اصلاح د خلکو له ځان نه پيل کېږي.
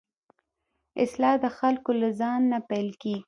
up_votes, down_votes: 0, 2